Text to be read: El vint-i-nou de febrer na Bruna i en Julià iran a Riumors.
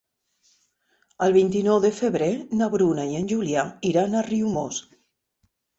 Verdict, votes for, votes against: accepted, 3, 0